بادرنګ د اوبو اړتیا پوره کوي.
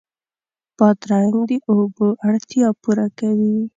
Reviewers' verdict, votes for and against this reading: accepted, 2, 0